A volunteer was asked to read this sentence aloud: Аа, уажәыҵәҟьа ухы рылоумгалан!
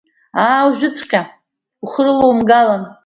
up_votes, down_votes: 1, 2